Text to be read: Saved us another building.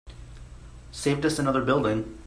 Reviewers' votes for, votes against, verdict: 3, 0, accepted